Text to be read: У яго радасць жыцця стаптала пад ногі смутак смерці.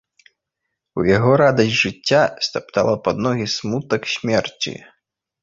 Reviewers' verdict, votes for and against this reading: accepted, 2, 0